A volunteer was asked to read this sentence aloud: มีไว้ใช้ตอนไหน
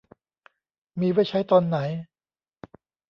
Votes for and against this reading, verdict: 2, 0, accepted